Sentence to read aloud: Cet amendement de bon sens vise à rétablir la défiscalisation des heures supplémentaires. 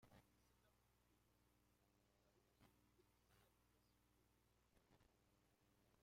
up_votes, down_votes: 0, 2